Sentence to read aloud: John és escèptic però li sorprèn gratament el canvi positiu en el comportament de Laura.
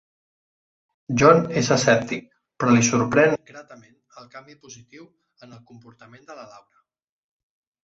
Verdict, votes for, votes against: rejected, 0, 2